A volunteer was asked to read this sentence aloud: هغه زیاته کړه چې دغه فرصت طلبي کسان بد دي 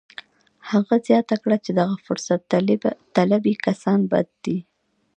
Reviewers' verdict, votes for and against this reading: accepted, 2, 0